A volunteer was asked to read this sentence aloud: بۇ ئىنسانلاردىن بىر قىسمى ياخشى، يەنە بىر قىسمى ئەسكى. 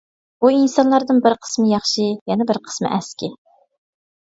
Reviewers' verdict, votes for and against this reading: accepted, 2, 0